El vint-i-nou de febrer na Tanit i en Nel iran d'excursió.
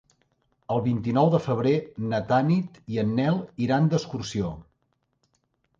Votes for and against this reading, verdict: 1, 2, rejected